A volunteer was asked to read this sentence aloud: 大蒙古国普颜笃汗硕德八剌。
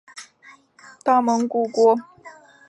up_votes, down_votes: 2, 0